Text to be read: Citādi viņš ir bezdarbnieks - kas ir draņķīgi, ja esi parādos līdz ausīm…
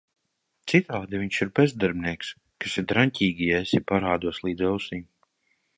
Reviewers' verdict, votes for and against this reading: accepted, 2, 1